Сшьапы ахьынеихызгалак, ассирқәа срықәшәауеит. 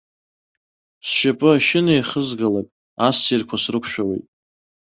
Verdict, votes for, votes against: rejected, 1, 2